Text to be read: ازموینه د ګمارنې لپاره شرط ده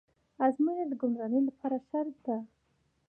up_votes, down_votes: 1, 2